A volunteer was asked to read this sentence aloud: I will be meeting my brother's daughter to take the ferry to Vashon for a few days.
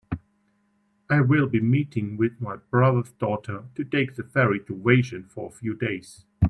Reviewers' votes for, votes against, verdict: 0, 2, rejected